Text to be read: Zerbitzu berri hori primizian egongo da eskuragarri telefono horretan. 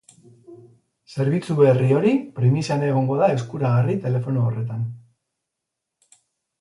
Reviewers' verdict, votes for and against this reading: accepted, 10, 0